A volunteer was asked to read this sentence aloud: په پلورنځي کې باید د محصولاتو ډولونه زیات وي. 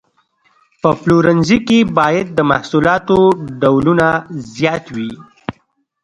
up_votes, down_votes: 2, 0